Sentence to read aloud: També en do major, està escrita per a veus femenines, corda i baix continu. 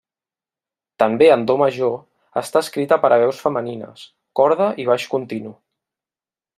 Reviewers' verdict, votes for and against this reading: accepted, 2, 0